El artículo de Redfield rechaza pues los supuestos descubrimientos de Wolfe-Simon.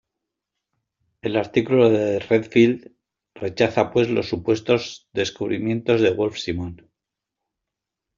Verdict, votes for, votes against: accepted, 2, 0